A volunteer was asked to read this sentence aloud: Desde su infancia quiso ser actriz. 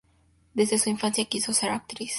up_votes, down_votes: 2, 0